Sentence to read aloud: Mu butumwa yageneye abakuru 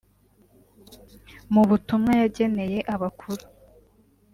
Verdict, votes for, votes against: accepted, 3, 0